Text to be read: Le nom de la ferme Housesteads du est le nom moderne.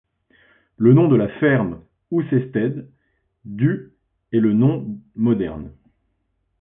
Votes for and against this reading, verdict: 2, 0, accepted